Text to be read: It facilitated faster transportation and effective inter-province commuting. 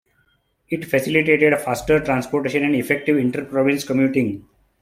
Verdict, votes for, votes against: rejected, 0, 2